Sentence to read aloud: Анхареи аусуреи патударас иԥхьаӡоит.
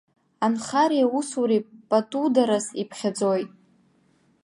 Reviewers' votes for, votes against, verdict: 2, 0, accepted